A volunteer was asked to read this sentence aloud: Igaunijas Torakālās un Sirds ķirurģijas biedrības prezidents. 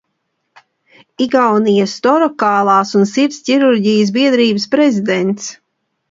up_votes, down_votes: 2, 1